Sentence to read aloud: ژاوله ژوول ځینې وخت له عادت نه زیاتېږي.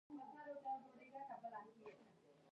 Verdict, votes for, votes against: rejected, 1, 2